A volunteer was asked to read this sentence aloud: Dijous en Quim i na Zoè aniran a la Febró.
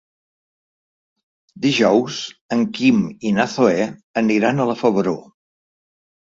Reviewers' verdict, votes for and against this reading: rejected, 0, 2